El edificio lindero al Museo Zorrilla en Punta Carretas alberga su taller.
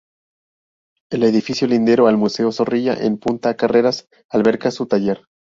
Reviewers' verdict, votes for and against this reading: rejected, 0, 4